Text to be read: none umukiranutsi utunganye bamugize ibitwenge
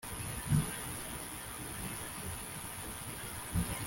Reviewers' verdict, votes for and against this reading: rejected, 0, 2